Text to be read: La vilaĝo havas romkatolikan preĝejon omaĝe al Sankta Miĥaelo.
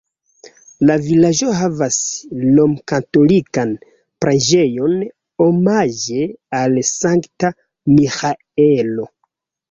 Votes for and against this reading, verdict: 2, 4, rejected